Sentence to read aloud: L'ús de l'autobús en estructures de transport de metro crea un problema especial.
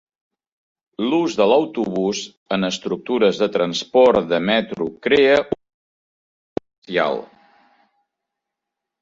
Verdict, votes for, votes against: rejected, 0, 2